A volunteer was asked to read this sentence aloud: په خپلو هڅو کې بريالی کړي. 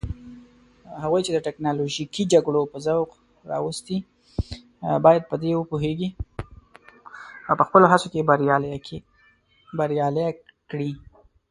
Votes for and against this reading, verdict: 0, 2, rejected